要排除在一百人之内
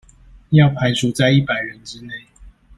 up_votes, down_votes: 2, 0